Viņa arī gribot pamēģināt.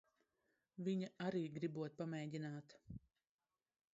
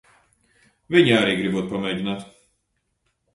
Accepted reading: second